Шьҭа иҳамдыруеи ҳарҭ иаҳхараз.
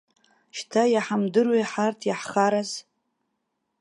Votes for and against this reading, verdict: 2, 0, accepted